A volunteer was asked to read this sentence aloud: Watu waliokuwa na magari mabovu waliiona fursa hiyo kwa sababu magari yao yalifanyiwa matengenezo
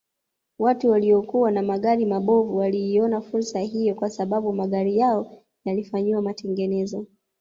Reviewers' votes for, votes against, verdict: 2, 0, accepted